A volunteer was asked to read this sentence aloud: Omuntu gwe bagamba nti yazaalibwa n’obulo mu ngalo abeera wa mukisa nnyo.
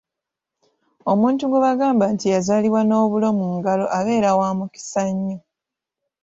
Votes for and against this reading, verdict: 2, 0, accepted